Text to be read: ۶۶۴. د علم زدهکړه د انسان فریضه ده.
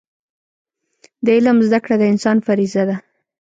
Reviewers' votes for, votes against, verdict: 0, 2, rejected